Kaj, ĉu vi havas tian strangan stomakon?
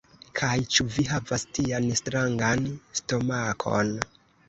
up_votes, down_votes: 0, 2